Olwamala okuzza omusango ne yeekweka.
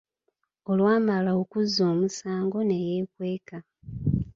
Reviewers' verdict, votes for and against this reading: accepted, 2, 0